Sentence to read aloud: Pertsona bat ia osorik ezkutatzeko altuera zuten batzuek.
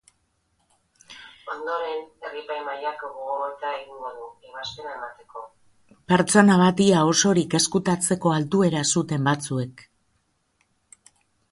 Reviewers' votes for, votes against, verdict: 0, 2, rejected